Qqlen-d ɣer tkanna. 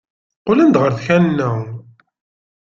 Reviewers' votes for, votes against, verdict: 2, 0, accepted